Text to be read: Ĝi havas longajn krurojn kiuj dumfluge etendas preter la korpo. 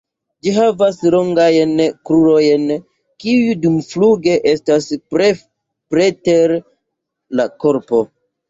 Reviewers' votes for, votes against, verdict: 1, 3, rejected